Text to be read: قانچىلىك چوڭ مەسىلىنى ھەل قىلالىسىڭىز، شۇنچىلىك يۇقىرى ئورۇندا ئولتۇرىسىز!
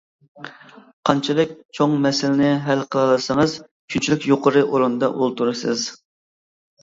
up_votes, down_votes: 2, 0